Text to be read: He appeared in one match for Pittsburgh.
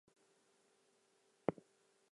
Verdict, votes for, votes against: rejected, 0, 2